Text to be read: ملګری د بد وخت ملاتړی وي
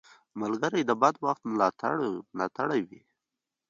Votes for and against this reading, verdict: 2, 1, accepted